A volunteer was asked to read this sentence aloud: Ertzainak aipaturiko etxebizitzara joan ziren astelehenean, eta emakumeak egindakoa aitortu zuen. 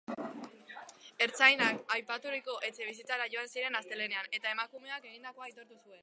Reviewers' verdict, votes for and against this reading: rejected, 1, 2